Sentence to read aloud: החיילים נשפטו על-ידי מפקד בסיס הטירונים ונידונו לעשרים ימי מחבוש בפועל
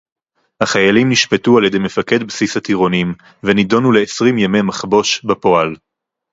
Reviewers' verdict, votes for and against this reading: accepted, 4, 0